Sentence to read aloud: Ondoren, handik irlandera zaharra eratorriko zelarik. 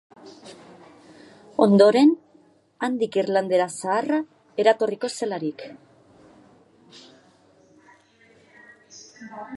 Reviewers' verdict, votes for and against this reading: accepted, 2, 1